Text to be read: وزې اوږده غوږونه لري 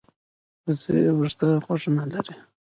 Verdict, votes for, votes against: rejected, 0, 2